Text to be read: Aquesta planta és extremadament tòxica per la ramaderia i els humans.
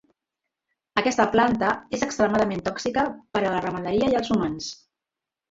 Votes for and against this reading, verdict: 1, 3, rejected